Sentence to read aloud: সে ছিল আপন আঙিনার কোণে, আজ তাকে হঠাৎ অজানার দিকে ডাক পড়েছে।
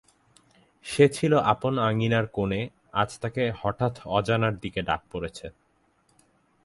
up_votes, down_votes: 2, 0